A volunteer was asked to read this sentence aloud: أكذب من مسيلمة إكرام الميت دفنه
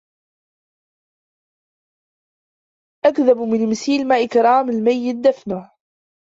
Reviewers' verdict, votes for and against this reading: rejected, 1, 2